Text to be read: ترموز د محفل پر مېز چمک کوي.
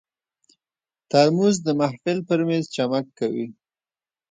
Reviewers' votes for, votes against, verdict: 0, 2, rejected